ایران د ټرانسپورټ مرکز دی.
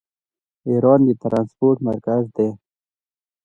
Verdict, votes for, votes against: accepted, 2, 0